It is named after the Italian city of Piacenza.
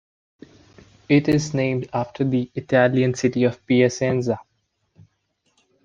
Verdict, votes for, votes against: accepted, 2, 0